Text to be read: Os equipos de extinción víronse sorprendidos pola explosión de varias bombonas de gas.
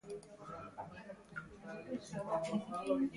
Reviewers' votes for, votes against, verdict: 0, 2, rejected